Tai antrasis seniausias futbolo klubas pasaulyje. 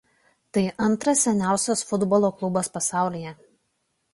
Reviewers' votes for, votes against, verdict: 1, 2, rejected